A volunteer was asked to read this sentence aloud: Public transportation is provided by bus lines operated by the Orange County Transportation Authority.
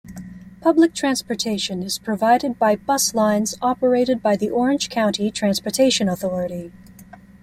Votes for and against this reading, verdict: 2, 0, accepted